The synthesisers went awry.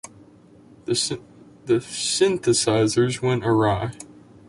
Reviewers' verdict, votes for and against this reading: rejected, 0, 2